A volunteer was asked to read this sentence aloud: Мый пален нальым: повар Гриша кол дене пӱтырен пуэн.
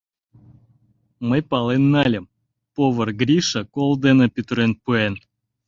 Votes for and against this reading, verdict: 2, 0, accepted